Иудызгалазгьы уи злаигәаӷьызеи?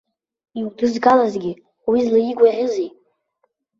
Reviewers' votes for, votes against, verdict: 0, 2, rejected